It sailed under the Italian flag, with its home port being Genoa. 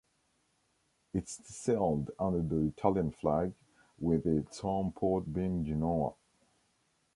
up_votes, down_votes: 2, 0